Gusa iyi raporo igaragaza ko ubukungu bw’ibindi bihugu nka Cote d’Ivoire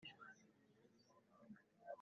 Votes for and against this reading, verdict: 0, 2, rejected